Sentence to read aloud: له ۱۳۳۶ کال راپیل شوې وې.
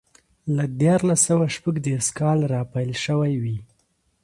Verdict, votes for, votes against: rejected, 0, 2